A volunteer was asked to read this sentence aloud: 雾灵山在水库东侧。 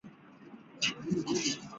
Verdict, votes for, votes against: rejected, 1, 2